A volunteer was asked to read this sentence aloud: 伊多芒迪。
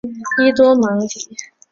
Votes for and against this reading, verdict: 4, 0, accepted